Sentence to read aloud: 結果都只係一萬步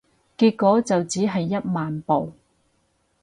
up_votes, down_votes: 0, 4